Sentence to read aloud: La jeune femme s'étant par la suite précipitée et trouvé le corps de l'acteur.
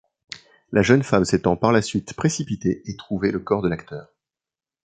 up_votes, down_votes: 2, 0